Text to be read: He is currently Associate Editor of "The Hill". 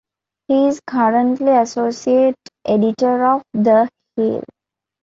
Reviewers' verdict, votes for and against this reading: rejected, 1, 2